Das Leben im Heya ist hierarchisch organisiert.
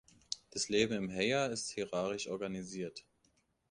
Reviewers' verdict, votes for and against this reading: accepted, 2, 1